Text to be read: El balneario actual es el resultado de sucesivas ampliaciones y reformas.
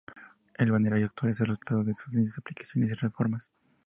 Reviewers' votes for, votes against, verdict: 0, 2, rejected